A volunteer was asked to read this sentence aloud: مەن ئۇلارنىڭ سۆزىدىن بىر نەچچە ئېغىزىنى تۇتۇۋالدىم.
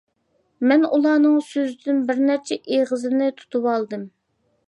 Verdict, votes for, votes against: accepted, 2, 0